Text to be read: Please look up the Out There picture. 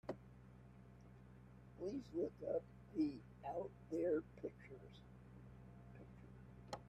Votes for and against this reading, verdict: 1, 2, rejected